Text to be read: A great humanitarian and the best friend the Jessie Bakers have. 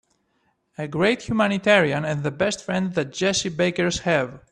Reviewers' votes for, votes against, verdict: 3, 0, accepted